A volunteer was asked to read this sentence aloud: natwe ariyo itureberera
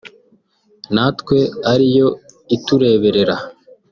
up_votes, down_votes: 1, 2